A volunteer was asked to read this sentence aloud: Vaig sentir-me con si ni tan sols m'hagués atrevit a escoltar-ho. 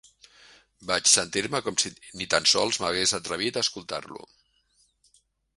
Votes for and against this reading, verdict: 0, 2, rejected